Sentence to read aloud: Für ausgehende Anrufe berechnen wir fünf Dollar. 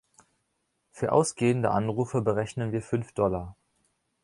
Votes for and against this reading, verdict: 2, 0, accepted